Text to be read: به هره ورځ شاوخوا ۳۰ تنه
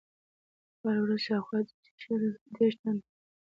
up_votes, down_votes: 0, 2